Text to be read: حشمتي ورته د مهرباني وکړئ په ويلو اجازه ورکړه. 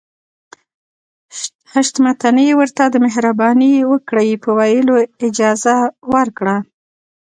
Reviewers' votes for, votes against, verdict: 2, 0, accepted